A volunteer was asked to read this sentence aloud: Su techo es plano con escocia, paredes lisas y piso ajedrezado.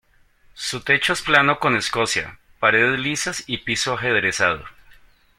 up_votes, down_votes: 2, 0